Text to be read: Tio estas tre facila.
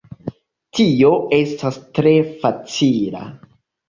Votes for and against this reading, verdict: 2, 0, accepted